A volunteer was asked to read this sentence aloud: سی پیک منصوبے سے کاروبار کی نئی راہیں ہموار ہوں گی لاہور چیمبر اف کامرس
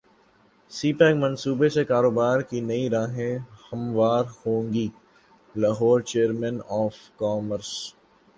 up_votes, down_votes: 5, 2